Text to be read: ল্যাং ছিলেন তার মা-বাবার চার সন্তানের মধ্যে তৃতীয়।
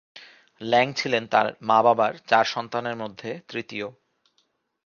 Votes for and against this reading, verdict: 2, 1, accepted